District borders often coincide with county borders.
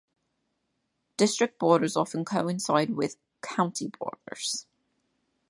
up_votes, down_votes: 2, 0